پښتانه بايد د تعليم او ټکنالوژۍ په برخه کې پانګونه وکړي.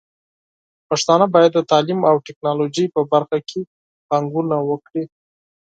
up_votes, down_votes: 4, 0